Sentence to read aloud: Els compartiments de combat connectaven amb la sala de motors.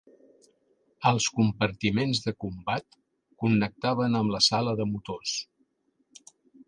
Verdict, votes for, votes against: accepted, 3, 1